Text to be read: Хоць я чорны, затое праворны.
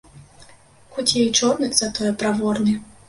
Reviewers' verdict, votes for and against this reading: rejected, 0, 2